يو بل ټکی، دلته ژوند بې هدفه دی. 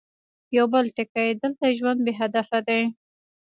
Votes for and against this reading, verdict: 1, 2, rejected